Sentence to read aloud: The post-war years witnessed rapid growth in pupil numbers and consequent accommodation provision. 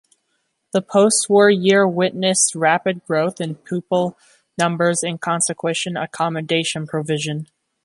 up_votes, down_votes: 1, 2